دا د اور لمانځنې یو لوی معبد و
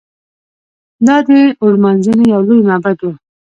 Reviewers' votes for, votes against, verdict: 1, 2, rejected